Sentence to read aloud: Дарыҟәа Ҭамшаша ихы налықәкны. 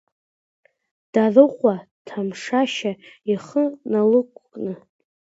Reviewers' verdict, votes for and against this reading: rejected, 0, 2